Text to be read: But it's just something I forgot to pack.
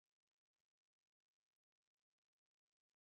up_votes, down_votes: 1, 10